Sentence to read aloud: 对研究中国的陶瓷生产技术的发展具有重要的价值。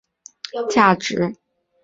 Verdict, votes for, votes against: rejected, 0, 4